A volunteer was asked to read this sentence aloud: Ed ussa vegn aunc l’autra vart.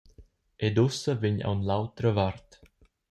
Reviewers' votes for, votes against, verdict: 2, 0, accepted